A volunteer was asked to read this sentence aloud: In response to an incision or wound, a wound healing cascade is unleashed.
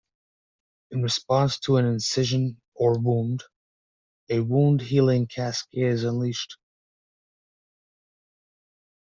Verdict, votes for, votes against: accepted, 2, 0